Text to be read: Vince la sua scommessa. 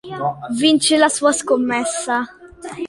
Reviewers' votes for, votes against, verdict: 2, 0, accepted